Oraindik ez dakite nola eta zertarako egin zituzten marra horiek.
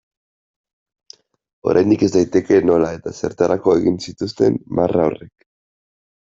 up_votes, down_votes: 1, 2